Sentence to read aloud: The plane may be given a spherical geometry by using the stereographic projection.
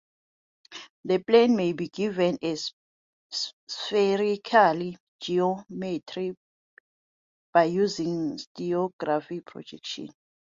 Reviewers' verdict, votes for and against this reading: rejected, 0, 2